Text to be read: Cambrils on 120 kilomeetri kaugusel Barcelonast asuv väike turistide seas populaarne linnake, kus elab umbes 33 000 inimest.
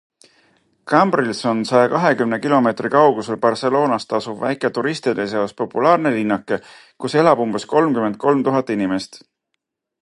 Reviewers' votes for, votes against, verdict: 0, 2, rejected